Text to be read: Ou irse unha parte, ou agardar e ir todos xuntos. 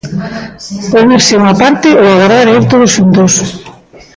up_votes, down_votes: 1, 2